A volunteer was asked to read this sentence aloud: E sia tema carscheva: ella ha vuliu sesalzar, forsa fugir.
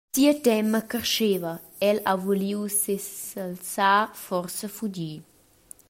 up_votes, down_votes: 0, 2